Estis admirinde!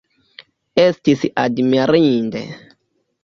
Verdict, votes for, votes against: accepted, 2, 1